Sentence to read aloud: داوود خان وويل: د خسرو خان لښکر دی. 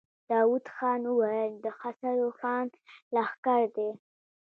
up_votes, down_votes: 0, 2